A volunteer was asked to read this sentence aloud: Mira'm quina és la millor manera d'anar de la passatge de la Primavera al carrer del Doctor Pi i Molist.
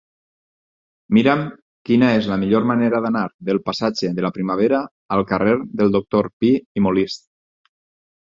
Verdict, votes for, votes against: rejected, 0, 4